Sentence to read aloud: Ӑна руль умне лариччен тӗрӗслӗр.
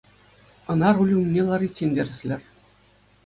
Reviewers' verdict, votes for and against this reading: accepted, 2, 0